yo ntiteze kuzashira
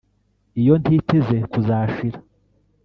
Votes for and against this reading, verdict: 0, 2, rejected